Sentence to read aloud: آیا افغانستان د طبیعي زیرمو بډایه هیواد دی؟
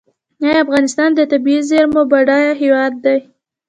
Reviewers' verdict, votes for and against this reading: accepted, 2, 0